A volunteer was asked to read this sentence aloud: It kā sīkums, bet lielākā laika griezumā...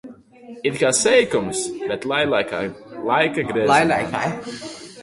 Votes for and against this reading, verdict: 0, 2, rejected